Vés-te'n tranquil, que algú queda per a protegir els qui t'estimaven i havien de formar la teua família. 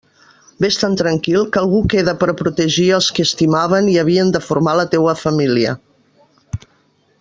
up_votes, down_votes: 1, 2